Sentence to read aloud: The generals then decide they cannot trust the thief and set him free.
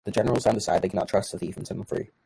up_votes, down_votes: 2, 1